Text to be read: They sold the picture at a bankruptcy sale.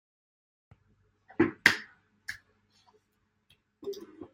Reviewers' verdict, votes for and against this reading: rejected, 0, 2